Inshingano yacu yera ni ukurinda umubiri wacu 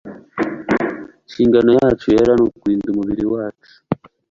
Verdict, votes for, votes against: accepted, 2, 0